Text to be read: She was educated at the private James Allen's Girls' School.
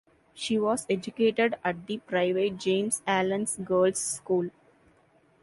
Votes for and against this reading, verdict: 2, 0, accepted